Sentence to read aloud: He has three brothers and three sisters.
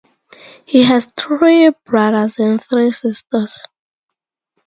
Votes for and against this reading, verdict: 0, 2, rejected